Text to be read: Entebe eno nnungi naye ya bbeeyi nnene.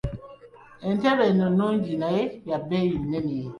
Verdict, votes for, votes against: accepted, 2, 1